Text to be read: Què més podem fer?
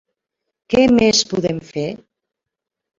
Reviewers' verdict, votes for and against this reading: rejected, 1, 2